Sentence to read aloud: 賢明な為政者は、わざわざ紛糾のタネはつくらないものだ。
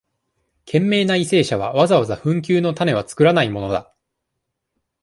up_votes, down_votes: 2, 0